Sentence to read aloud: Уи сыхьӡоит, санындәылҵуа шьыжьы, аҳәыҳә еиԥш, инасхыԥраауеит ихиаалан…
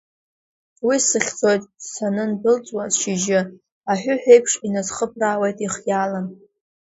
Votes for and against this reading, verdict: 2, 0, accepted